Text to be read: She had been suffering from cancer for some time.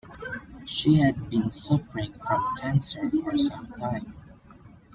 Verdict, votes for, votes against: accepted, 2, 1